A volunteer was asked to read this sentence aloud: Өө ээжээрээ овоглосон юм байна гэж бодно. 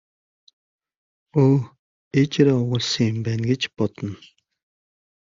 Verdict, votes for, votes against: accepted, 2, 0